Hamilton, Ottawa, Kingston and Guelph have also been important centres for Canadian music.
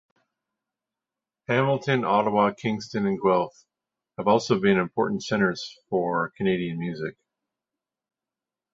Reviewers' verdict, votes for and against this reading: accepted, 2, 0